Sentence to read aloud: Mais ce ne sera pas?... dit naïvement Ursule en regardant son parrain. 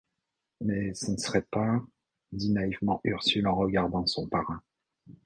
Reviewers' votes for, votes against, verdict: 1, 2, rejected